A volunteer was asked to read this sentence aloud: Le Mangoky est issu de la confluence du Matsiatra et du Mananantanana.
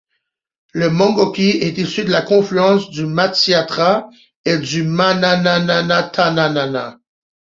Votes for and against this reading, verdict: 1, 2, rejected